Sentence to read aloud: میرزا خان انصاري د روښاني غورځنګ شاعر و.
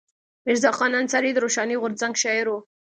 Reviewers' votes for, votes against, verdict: 2, 0, accepted